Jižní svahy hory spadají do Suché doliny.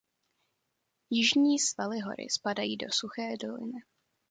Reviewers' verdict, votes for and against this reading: rejected, 1, 2